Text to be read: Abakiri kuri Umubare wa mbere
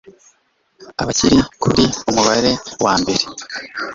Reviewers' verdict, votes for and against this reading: accepted, 2, 0